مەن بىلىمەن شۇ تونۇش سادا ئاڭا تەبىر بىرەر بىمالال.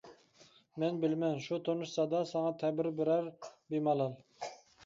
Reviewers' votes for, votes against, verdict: 0, 2, rejected